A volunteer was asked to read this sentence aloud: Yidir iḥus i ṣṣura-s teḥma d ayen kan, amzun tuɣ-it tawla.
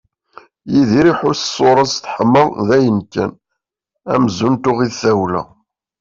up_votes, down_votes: 2, 0